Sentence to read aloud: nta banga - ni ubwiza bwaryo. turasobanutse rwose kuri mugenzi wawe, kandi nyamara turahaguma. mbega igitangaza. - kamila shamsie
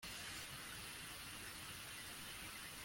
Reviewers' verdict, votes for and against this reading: rejected, 0, 2